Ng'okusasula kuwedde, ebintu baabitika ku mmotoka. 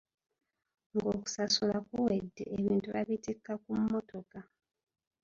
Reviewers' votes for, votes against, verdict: 0, 2, rejected